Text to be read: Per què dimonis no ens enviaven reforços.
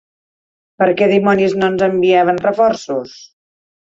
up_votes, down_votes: 2, 0